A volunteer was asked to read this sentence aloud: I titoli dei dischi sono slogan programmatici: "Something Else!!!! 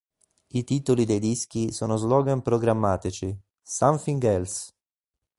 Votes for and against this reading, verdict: 0, 2, rejected